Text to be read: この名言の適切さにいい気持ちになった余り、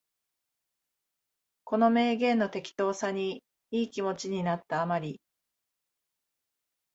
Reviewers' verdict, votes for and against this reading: rejected, 0, 2